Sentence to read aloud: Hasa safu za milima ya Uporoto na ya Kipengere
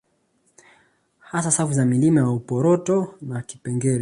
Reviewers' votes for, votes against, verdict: 2, 0, accepted